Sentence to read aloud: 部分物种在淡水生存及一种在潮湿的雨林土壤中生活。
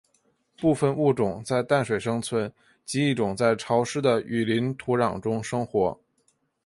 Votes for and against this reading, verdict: 4, 1, accepted